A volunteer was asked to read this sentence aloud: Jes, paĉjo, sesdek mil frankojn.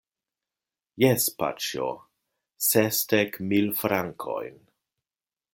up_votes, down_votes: 2, 0